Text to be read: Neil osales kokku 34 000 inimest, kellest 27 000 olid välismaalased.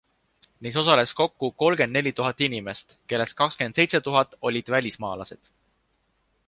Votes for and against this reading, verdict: 0, 2, rejected